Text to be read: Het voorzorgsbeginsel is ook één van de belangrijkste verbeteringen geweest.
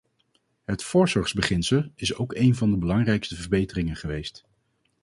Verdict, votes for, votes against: accepted, 2, 0